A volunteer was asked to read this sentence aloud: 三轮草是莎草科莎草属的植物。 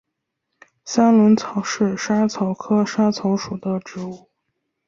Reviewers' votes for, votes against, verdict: 4, 0, accepted